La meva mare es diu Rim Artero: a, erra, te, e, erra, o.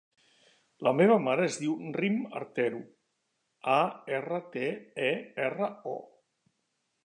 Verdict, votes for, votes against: accepted, 2, 0